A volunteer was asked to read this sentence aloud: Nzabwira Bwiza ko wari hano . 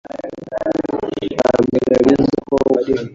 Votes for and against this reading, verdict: 1, 2, rejected